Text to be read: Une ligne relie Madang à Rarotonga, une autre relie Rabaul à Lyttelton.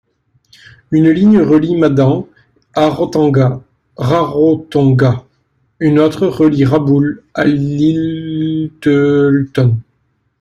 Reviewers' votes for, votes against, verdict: 0, 2, rejected